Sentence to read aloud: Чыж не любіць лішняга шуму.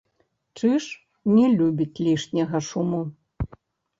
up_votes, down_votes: 2, 3